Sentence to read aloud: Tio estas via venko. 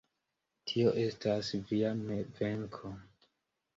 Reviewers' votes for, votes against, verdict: 2, 0, accepted